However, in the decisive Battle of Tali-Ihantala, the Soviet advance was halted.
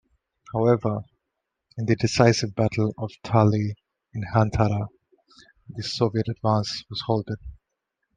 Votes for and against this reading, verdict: 2, 1, accepted